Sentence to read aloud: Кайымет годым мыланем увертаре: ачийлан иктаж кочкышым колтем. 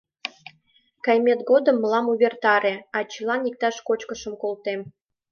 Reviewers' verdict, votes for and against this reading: rejected, 1, 2